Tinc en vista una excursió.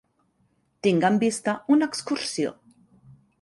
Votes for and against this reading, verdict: 4, 1, accepted